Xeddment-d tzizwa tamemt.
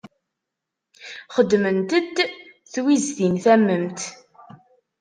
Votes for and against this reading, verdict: 0, 2, rejected